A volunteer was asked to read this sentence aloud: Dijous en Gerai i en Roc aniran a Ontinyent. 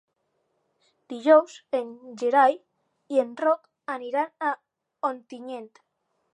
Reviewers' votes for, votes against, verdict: 4, 0, accepted